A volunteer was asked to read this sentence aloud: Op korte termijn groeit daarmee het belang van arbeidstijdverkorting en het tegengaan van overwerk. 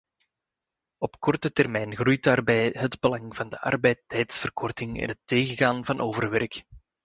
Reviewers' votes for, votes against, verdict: 0, 2, rejected